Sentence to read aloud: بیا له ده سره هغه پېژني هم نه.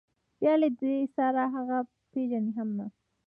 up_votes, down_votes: 2, 0